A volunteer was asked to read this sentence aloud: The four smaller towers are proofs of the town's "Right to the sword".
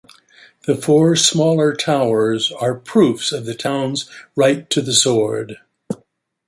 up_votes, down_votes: 2, 0